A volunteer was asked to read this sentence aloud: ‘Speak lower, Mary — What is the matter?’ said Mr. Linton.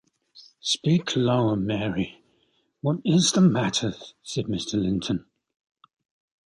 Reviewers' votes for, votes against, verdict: 2, 0, accepted